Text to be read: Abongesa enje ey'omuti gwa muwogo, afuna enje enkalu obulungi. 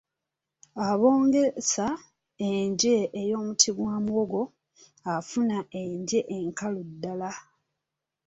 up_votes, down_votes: 0, 2